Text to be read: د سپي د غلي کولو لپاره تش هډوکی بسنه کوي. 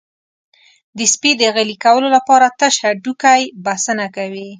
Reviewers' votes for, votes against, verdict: 2, 0, accepted